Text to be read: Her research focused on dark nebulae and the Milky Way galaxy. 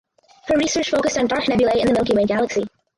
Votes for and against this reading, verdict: 0, 2, rejected